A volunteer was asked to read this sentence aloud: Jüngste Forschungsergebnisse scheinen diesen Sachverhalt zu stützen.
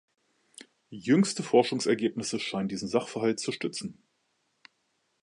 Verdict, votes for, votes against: accepted, 2, 0